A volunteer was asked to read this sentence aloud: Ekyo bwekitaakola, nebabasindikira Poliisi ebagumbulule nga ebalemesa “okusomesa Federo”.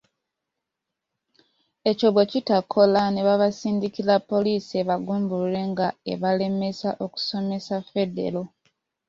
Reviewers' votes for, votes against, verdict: 2, 0, accepted